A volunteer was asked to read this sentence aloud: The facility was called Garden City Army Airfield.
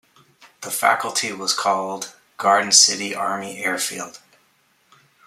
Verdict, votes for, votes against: accepted, 2, 1